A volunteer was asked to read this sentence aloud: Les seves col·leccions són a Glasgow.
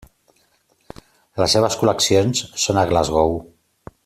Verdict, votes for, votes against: accepted, 3, 0